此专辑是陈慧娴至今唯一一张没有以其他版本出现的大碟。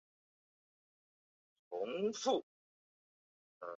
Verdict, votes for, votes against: rejected, 1, 4